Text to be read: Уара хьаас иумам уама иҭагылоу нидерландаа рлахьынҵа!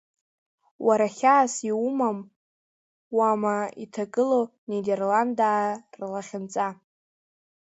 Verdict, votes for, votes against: accepted, 2, 0